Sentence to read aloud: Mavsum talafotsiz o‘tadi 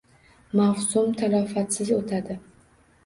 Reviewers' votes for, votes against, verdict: 2, 0, accepted